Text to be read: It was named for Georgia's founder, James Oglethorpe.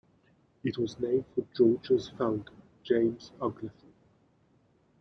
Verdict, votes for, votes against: rejected, 1, 2